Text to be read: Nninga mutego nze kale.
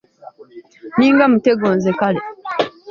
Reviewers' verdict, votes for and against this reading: accepted, 2, 0